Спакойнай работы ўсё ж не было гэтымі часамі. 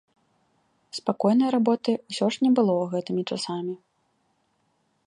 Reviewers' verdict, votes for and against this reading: accepted, 3, 0